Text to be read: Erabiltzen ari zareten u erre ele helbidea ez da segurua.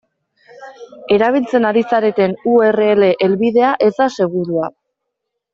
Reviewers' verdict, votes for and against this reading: accepted, 2, 0